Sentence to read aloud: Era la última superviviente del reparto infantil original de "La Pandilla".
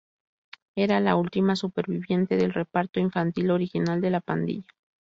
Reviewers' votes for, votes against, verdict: 2, 0, accepted